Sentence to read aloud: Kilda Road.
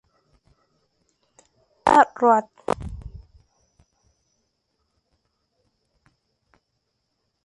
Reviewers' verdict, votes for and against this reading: rejected, 0, 2